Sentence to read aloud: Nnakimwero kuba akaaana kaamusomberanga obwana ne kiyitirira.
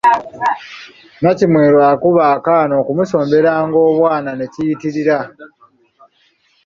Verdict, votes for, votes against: rejected, 0, 2